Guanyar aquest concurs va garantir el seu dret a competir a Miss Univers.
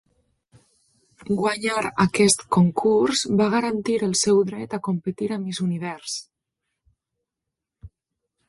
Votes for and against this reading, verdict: 2, 1, accepted